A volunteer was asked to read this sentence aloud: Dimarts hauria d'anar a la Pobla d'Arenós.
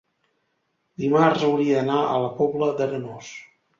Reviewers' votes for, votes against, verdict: 2, 0, accepted